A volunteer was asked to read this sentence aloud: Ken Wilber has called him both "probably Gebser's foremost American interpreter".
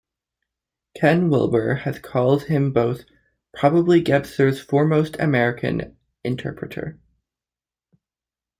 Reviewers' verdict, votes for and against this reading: rejected, 0, 2